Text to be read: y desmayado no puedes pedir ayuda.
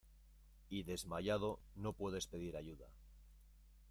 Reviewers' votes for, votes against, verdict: 0, 2, rejected